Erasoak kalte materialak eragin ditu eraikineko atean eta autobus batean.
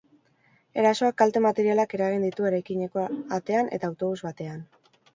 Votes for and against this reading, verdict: 2, 0, accepted